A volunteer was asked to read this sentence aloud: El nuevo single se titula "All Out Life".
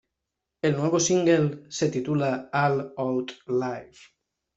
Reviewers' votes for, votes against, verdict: 2, 0, accepted